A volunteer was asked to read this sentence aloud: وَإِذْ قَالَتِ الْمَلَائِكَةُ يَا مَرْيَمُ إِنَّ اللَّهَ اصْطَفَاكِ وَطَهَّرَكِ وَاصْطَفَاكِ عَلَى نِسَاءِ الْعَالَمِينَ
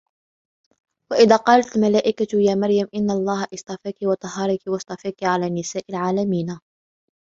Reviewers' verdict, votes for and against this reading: rejected, 1, 2